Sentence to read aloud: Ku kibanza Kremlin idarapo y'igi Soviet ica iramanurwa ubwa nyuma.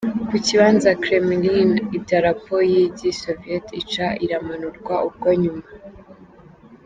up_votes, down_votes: 0, 2